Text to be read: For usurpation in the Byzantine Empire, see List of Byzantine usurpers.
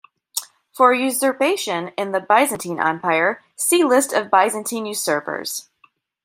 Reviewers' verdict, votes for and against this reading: accepted, 2, 0